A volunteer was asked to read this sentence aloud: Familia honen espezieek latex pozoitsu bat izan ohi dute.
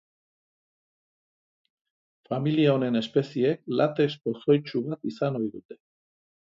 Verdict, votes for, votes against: accepted, 3, 1